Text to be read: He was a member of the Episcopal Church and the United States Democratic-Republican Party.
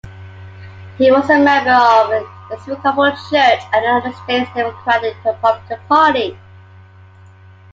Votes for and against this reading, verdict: 1, 2, rejected